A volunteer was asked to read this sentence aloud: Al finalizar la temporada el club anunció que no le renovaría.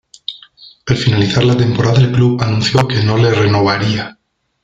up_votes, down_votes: 1, 2